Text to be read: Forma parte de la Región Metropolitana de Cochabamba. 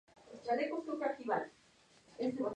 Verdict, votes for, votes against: rejected, 0, 2